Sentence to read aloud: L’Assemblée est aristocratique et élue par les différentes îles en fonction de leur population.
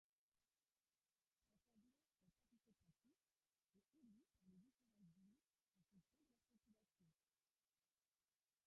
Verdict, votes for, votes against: rejected, 0, 2